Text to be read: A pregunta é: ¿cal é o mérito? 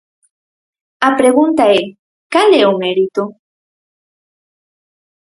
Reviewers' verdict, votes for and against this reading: accepted, 4, 0